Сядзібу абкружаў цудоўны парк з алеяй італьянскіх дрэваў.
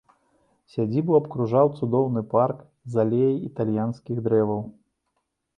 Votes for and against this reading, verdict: 3, 0, accepted